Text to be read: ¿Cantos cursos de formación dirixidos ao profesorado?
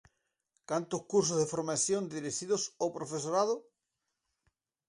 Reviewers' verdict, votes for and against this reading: rejected, 0, 4